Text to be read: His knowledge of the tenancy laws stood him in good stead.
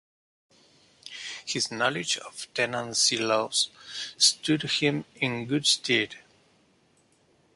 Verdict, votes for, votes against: rejected, 0, 2